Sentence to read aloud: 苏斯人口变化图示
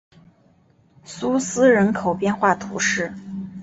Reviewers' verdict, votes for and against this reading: accepted, 2, 0